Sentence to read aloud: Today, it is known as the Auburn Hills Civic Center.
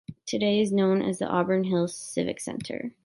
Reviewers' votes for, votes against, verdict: 2, 1, accepted